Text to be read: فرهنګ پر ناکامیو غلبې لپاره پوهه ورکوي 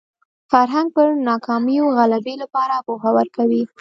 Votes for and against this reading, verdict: 3, 0, accepted